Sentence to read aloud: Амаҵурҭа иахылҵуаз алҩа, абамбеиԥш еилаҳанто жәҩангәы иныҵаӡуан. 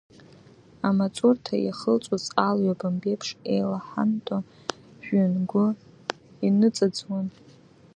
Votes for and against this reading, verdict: 1, 2, rejected